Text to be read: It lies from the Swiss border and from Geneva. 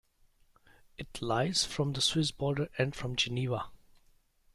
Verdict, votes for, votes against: accepted, 2, 0